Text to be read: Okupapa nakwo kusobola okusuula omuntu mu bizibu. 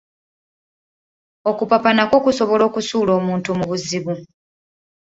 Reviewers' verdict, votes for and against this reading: rejected, 1, 2